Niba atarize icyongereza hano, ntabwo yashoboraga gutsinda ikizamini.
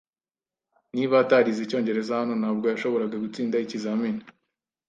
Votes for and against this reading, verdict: 2, 0, accepted